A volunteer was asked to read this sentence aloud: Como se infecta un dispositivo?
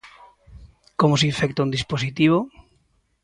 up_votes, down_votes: 2, 0